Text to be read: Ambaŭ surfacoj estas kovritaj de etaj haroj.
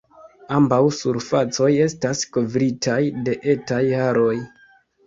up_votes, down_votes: 3, 0